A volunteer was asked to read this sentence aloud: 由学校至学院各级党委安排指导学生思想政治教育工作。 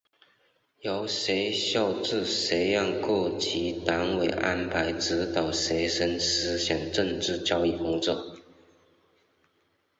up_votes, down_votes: 2, 0